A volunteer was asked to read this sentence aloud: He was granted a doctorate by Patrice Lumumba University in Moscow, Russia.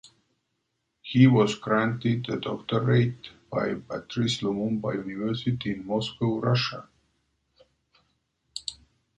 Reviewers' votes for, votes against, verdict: 1, 2, rejected